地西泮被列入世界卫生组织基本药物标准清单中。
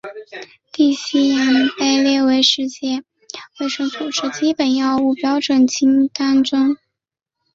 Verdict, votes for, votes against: accepted, 2, 0